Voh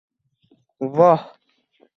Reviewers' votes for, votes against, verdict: 2, 1, accepted